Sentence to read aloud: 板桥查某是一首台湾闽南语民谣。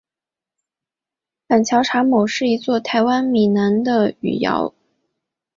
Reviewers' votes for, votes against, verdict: 1, 2, rejected